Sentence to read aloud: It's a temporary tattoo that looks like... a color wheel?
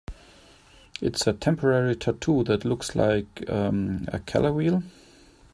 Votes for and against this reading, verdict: 0, 2, rejected